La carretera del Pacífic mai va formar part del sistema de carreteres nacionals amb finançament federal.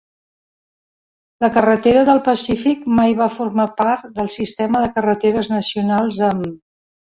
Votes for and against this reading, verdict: 0, 2, rejected